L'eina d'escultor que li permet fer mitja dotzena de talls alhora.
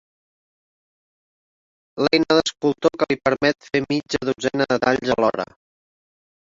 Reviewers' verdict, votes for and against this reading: rejected, 0, 2